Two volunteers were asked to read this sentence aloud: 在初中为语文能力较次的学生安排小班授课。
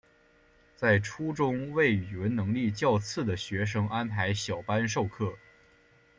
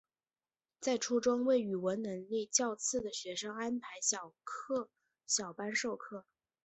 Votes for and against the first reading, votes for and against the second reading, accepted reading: 2, 0, 0, 2, first